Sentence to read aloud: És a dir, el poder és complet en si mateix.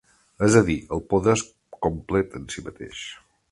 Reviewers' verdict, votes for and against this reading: accepted, 2, 1